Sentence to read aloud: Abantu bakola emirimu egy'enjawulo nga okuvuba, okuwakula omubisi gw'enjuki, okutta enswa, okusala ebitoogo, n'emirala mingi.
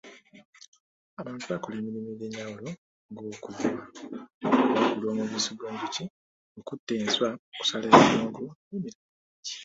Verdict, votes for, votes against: accepted, 2, 1